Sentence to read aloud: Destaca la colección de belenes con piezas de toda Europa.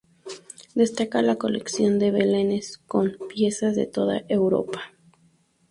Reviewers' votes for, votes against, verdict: 0, 2, rejected